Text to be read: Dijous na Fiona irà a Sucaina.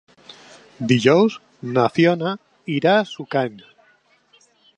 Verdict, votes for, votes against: rejected, 0, 2